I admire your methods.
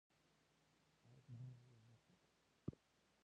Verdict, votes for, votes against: rejected, 0, 2